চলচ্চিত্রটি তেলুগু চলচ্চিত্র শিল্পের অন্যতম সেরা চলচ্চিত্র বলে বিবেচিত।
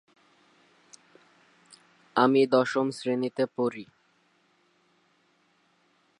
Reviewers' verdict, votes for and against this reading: rejected, 0, 3